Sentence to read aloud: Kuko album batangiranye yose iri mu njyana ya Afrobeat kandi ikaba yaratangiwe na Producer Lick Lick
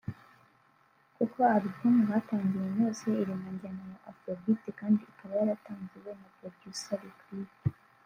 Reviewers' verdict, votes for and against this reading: accepted, 2, 1